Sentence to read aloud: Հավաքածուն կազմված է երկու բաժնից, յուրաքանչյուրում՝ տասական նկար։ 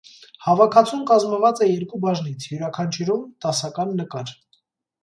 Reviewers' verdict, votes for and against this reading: accepted, 2, 0